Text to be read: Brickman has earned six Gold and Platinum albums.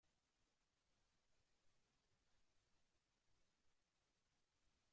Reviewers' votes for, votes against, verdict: 0, 2, rejected